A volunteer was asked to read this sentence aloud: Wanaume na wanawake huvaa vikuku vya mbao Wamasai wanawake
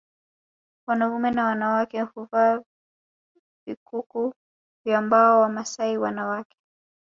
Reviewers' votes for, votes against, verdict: 2, 0, accepted